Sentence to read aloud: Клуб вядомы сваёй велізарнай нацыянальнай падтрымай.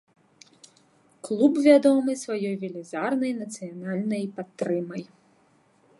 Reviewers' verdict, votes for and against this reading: accepted, 2, 0